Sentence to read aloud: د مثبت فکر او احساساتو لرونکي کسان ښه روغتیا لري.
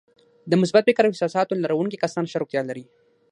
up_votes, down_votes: 3, 6